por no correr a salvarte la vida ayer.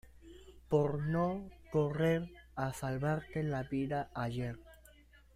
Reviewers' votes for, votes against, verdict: 2, 1, accepted